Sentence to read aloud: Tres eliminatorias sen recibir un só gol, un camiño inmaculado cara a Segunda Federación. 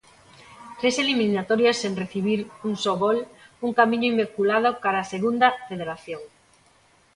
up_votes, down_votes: 0, 2